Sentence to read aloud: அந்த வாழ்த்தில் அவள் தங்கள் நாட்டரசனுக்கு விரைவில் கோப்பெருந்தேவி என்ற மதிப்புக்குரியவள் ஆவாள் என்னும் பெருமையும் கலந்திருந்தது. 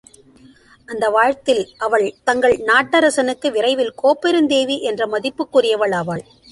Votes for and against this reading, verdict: 0, 2, rejected